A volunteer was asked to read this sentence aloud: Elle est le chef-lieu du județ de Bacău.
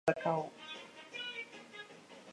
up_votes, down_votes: 0, 2